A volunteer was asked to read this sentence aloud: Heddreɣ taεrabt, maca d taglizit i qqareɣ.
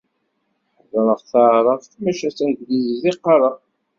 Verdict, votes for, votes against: accepted, 2, 0